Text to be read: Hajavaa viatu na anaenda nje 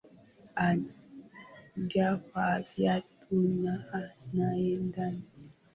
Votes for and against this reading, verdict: 0, 2, rejected